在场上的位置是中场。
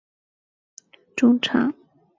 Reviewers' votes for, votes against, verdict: 0, 4, rejected